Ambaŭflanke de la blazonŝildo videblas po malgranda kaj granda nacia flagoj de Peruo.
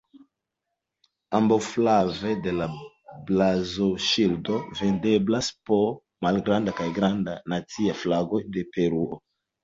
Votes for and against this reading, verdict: 1, 2, rejected